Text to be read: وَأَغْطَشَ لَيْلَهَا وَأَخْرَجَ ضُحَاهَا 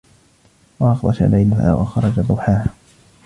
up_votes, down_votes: 0, 2